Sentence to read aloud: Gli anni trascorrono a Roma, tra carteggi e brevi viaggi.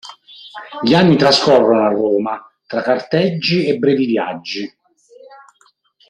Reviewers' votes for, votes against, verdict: 1, 2, rejected